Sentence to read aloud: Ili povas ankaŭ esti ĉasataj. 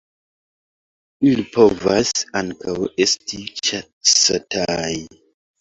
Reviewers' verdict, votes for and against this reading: accepted, 2, 0